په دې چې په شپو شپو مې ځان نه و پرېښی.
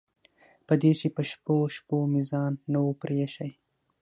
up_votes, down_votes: 3, 6